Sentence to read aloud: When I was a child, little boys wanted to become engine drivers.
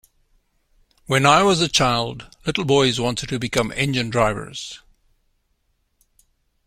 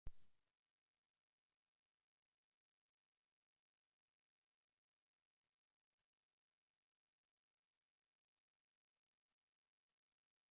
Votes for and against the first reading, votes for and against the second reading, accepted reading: 2, 0, 0, 2, first